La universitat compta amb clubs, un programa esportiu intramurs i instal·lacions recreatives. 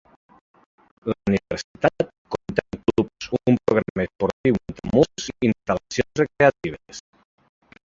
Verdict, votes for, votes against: rejected, 0, 2